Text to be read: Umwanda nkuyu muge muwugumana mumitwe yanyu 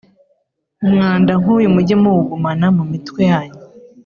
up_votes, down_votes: 2, 0